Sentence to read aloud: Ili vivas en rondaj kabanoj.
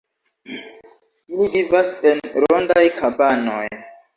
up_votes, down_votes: 1, 2